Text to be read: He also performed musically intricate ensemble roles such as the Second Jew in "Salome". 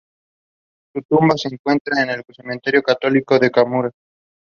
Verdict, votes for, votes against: rejected, 0, 2